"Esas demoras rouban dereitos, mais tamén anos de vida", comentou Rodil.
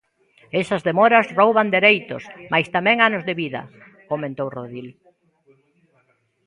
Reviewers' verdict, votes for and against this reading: accepted, 2, 1